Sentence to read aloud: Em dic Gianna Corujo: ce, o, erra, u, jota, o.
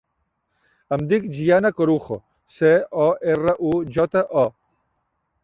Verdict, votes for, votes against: accepted, 3, 0